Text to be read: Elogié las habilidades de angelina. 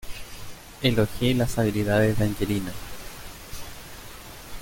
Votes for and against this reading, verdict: 2, 0, accepted